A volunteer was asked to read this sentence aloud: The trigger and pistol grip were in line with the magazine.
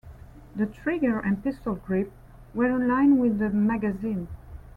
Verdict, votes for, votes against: accepted, 2, 1